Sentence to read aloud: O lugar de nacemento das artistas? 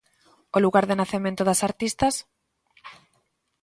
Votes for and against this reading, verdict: 2, 0, accepted